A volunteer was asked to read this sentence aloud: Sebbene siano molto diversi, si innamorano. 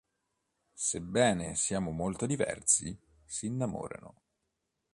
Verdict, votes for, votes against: rejected, 0, 2